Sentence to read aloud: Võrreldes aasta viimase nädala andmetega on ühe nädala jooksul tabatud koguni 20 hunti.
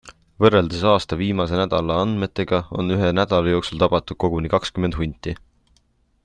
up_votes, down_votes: 0, 2